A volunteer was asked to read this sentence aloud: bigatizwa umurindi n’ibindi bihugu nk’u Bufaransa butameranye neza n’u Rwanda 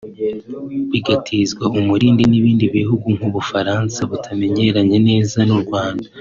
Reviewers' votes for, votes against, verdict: 1, 2, rejected